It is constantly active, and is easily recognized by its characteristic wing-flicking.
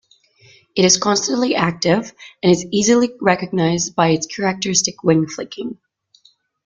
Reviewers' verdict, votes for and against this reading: rejected, 0, 2